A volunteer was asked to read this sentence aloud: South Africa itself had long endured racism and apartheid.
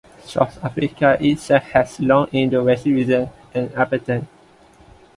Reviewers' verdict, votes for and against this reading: rejected, 0, 2